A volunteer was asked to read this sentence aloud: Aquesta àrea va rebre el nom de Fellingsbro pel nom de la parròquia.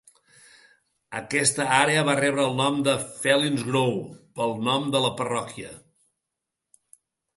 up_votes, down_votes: 3, 0